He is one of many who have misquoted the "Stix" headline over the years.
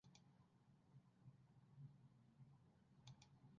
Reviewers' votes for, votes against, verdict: 0, 2, rejected